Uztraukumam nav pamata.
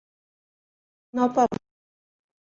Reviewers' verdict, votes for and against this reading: rejected, 0, 2